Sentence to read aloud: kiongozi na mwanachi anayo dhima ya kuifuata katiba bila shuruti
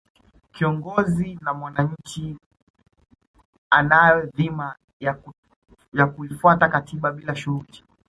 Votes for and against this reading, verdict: 1, 2, rejected